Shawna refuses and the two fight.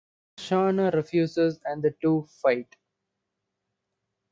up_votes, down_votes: 2, 0